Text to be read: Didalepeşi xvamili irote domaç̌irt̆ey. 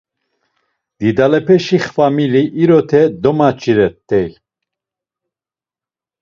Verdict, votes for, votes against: rejected, 1, 2